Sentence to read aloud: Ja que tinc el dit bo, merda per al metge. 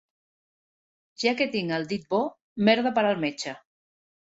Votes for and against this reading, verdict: 2, 0, accepted